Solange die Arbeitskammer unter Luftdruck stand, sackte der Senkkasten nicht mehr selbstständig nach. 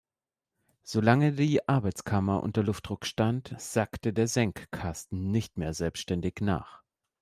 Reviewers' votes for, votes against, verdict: 2, 0, accepted